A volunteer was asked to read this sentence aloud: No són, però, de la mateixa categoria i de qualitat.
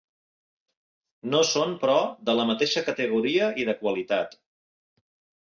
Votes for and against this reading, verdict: 2, 0, accepted